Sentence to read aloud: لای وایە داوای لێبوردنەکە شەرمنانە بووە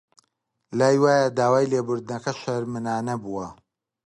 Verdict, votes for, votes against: accepted, 2, 0